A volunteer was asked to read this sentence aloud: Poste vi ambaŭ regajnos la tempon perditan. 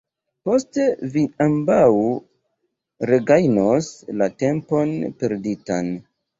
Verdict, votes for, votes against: rejected, 0, 2